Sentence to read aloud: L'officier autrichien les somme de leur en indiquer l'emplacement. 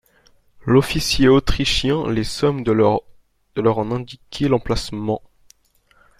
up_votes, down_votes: 0, 2